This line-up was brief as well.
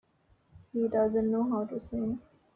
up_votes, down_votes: 0, 2